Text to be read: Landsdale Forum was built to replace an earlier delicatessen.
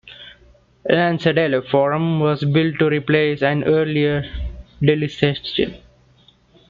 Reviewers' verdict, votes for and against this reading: rejected, 0, 2